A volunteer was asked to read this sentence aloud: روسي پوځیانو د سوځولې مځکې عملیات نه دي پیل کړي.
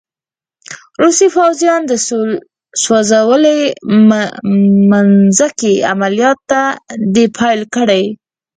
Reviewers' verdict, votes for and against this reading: rejected, 0, 6